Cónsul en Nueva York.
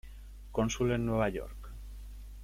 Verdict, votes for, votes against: accepted, 2, 0